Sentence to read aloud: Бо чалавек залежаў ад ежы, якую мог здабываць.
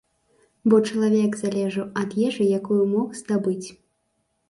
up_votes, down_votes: 0, 2